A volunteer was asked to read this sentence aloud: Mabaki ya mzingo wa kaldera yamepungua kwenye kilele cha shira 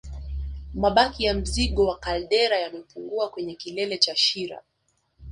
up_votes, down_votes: 3, 2